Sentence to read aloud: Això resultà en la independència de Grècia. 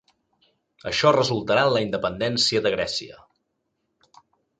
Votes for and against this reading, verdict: 0, 2, rejected